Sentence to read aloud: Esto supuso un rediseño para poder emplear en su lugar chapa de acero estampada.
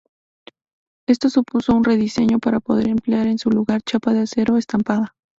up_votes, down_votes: 6, 0